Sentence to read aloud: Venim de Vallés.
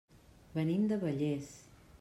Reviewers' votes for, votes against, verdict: 3, 0, accepted